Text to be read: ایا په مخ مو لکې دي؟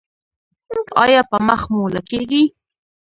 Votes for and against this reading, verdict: 1, 2, rejected